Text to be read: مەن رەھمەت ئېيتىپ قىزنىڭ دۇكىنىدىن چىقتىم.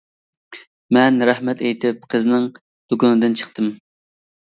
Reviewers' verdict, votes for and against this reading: accepted, 2, 0